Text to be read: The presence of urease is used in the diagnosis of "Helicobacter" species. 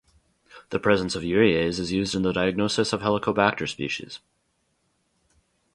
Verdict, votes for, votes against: rejected, 0, 2